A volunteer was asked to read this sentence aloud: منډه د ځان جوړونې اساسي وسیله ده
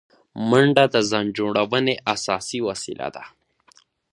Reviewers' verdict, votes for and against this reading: accepted, 2, 1